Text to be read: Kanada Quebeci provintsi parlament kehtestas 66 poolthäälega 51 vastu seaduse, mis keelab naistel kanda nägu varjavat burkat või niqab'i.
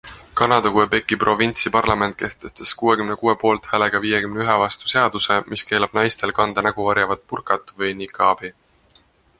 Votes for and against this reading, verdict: 0, 2, rejected